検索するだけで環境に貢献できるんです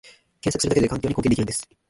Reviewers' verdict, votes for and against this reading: rejected, 0, 2